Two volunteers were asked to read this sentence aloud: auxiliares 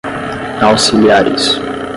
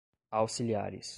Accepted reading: second